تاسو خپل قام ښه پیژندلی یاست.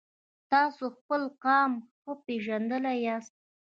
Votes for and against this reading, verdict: 0, 2, rejected